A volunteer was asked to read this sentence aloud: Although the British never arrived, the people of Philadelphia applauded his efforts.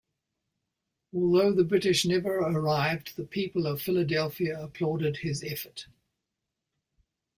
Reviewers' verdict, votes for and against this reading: rejected, 0, 2